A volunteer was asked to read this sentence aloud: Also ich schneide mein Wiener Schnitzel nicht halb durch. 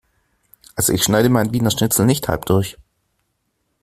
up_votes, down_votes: 2, 0